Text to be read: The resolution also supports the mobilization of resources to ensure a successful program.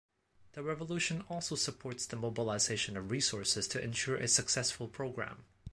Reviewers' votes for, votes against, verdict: 1, 2, rejected